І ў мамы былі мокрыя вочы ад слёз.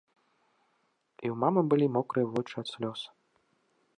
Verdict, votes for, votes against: accepted, 2, 1